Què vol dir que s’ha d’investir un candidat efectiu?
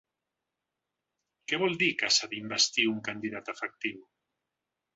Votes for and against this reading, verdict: 3, 0, accepted